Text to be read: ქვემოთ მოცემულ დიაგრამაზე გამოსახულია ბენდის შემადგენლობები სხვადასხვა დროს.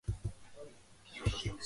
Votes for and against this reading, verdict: 0, 2, rejected